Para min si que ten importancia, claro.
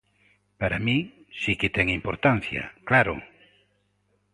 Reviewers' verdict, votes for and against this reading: accepted, 2, 0